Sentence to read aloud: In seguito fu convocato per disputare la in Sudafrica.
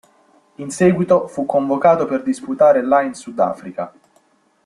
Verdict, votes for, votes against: accepted, 2, 0